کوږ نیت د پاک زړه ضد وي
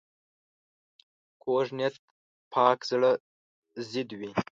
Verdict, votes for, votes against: rejected, 1, 2